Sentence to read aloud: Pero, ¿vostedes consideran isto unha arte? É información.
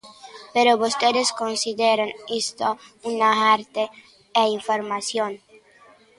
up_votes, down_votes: 0, 2